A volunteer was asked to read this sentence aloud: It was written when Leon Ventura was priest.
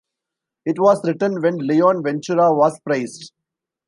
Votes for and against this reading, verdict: 0, 2, rejected